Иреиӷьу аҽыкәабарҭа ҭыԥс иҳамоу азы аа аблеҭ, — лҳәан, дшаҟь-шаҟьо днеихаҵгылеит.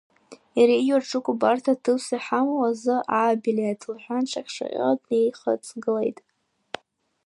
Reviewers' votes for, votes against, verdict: 1, 2, rejected